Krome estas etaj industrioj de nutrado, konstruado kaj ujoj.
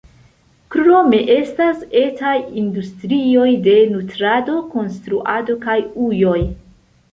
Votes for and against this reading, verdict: 2, 0, accepted